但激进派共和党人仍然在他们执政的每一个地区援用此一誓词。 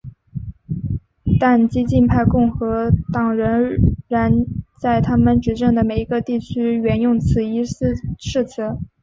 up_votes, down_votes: 2, 0